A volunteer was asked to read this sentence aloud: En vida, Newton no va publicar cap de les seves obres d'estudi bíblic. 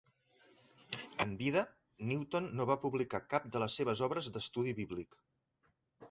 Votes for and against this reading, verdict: 0, 2, rejected